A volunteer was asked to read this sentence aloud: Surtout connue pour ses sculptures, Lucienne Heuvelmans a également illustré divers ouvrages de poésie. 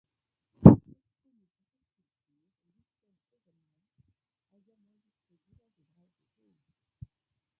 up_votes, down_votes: 1, 2